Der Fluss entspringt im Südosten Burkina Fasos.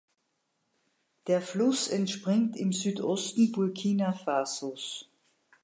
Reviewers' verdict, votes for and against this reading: accepted, 2, 0